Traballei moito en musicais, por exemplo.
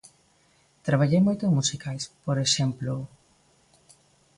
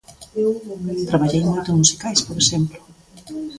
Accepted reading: first